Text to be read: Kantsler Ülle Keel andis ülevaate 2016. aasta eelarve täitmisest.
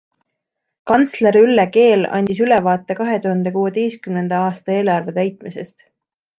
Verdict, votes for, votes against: rejected, 0, 2